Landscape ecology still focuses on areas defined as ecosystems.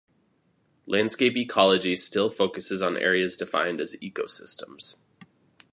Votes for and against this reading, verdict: 2, 0, accepted